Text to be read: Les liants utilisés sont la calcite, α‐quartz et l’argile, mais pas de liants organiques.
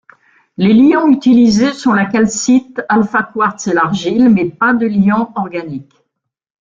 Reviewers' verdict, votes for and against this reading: rejected, 1, 2